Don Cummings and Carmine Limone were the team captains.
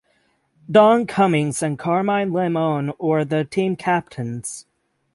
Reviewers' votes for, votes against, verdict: 6, 0, accepted